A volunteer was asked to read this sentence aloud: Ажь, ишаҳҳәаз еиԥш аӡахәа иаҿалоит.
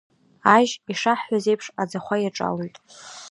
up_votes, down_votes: 0, 2